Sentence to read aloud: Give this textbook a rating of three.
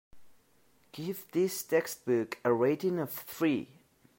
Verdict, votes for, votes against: accepted, 2, 1